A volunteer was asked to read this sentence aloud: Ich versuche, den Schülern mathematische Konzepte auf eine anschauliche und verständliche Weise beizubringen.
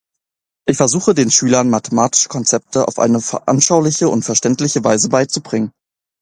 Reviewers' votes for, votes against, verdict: 0, 2, rejected